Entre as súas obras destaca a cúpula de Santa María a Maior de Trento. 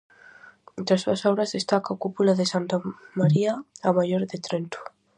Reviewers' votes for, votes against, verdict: 4, 0, accepted